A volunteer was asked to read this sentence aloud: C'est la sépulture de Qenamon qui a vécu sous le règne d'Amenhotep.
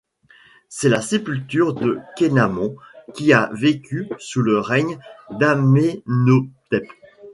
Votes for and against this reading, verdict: 2, 0, accepted